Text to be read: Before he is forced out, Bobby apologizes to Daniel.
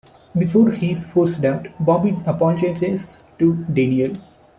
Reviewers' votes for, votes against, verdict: 1, 2, rejected